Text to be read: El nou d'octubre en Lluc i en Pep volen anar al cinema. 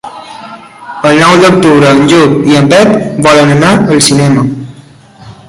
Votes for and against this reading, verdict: 1, 2, rejected